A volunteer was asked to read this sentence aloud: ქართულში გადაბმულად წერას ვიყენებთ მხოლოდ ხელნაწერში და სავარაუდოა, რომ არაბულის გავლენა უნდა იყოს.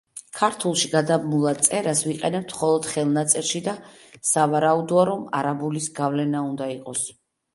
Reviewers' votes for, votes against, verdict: 2, 0, accepted